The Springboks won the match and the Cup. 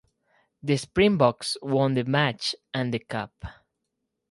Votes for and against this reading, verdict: 4, 0, accepted